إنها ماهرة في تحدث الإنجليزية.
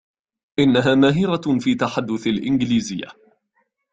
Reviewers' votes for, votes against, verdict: 2, 0, accepted